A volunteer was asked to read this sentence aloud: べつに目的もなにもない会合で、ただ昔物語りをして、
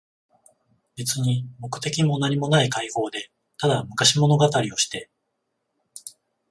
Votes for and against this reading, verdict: 14, 0, accepted